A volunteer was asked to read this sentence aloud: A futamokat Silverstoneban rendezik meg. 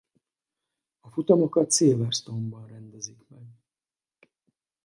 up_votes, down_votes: 2, 2